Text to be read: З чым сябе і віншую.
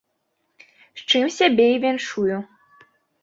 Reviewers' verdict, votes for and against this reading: accepted, 2, 0